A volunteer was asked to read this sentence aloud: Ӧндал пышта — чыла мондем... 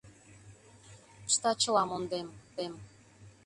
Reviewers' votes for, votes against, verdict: 0, 2, rejected